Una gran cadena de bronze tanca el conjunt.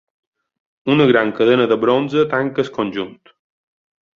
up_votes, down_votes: 2, 3